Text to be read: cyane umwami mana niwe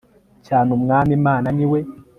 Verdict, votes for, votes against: accepted, 2, 0